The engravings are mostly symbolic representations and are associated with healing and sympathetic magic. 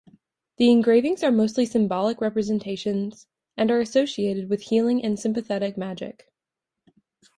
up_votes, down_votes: 3, 0